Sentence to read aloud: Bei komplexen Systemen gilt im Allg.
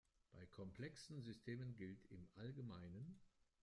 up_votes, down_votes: 2, 0